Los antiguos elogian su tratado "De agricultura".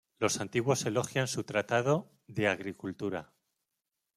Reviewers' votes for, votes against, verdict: 3, 0, accepted